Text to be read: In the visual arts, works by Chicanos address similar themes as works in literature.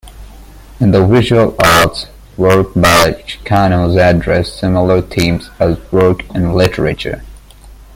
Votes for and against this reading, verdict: 0, 2, rejected